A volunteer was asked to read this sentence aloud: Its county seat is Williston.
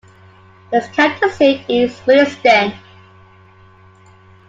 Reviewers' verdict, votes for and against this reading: accepted, 2, 0